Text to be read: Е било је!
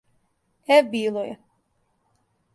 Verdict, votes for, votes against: accepted, 2, 0